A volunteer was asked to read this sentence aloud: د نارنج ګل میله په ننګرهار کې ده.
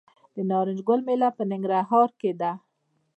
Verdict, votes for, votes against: rejected, 0, 2